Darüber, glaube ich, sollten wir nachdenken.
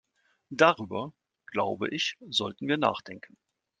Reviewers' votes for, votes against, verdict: 2, 0, accepted